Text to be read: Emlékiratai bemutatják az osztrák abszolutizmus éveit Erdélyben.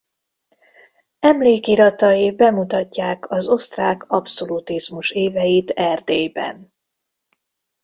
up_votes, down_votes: 2, 0